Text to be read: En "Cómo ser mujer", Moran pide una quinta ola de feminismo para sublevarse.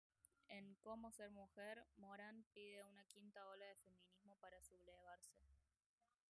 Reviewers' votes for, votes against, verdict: 0, 2, rejected